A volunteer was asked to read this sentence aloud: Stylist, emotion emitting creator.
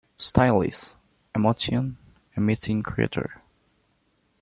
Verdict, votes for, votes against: accepted, 2, 0